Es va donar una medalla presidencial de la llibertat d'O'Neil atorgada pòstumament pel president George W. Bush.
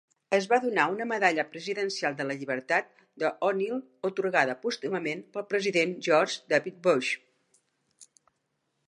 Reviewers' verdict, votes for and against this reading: rejected, 0, 2